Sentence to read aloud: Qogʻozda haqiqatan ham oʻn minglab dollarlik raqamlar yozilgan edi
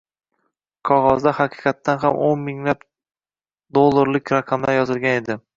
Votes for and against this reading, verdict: 2, 1, accepted